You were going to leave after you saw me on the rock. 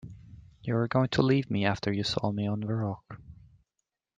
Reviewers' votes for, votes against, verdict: 0, 2, rejected